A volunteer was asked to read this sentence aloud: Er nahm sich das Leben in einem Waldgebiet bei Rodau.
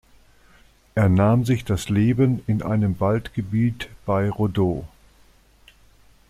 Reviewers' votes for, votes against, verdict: 0, 2, rejected